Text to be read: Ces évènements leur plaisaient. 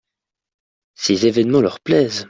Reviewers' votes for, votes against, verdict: 2, 1, accepted